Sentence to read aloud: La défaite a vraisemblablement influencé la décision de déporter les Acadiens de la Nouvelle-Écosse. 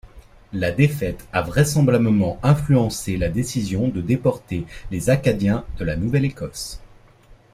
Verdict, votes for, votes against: accepted, 2, 0